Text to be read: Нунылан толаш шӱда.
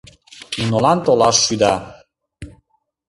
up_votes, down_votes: 0, 2